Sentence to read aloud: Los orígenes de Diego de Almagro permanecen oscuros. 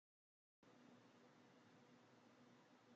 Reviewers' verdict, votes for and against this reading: rejected, 0, 2